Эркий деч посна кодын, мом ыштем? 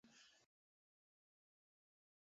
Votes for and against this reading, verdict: 0, 2, rejected